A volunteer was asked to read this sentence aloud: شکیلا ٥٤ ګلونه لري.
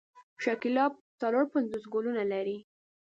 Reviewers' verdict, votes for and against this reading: rejected, 0, 2